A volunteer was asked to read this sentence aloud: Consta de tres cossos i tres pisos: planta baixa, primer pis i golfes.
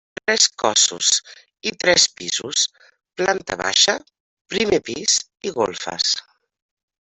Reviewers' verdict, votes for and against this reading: rejected, 1, 2